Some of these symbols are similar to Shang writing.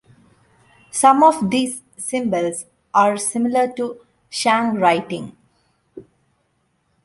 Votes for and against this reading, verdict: 2, 0, accepted